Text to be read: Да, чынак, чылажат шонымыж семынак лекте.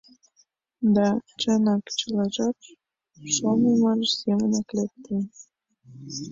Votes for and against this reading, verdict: 1, 2, rejected